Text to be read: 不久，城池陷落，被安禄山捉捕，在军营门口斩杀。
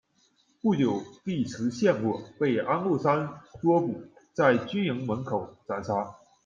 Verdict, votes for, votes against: rejected, 0, 2